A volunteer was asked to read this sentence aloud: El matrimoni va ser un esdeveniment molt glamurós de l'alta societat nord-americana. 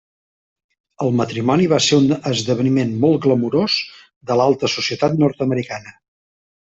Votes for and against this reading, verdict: 1, 2, rejected